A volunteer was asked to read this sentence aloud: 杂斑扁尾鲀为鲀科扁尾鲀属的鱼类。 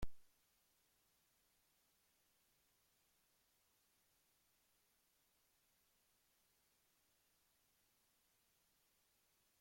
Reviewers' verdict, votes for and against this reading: rejected, 0, 2